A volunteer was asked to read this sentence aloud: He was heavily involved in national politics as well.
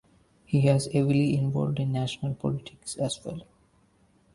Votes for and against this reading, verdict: 0, 2, rejected